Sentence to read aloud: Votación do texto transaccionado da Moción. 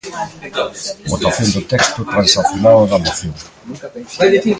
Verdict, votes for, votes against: rejected, 1, 2